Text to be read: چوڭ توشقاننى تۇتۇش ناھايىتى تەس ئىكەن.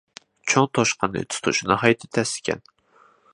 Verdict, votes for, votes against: accepted, 2, 1